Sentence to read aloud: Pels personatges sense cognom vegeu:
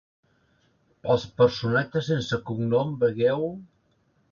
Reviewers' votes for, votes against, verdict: 1, 2, rejected